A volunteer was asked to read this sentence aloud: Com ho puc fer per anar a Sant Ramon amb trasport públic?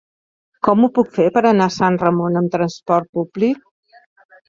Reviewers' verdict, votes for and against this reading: accepted, 4, 0